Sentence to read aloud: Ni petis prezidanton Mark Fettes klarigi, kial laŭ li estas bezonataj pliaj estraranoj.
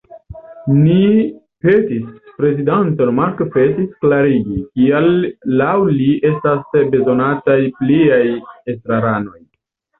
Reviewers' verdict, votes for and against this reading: rejected, 0, 2